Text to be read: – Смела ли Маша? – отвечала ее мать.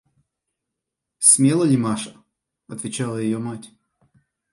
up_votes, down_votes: 2, 0